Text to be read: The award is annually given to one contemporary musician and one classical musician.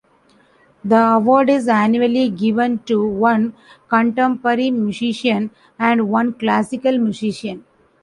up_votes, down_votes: 0, 2